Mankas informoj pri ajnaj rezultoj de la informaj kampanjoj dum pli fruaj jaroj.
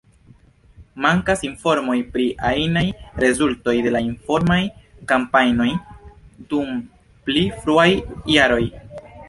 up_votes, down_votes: 0, 3